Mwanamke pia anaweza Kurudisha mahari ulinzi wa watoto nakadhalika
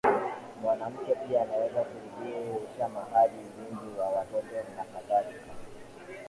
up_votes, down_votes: 2, 0